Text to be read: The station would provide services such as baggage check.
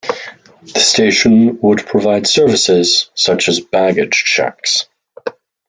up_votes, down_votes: 0, 2